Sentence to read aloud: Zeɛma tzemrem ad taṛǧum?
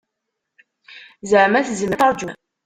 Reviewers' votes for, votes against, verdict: 1, 2, rejected